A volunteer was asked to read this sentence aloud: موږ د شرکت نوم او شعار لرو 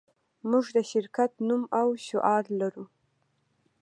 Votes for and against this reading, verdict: 2, 0, accepted